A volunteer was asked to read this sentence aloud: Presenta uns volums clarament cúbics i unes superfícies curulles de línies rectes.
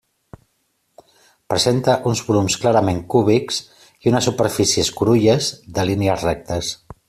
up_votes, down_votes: 2, 0